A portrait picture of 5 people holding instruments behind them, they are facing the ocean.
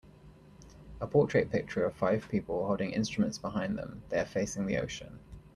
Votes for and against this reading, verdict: 0, 2, rejected